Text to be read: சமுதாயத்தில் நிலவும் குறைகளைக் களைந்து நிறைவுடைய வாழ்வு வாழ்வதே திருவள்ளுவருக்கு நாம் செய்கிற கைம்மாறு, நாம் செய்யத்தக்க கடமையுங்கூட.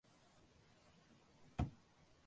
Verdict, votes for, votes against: rejected, 0, 2